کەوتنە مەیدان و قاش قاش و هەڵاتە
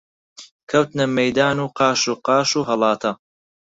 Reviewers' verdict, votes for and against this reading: rejected, 2, 4